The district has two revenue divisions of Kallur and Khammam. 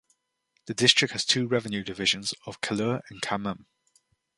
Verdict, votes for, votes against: accepted, 2, 0